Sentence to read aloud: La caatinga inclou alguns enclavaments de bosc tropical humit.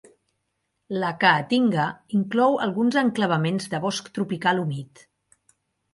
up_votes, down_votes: 2, 0